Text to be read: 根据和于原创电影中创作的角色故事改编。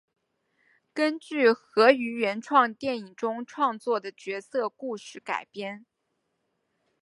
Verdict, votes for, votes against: rejected, 3, 3